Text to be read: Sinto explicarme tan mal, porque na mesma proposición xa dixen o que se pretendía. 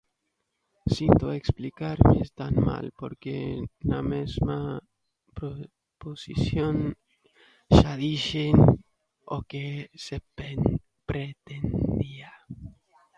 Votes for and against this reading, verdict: 1, 2, rejected